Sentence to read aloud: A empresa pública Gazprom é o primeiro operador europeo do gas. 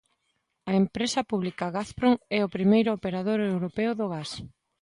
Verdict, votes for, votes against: accepted, 2, 0